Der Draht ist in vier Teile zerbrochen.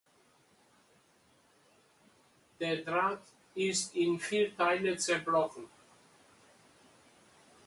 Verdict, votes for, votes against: accepted, 2, 0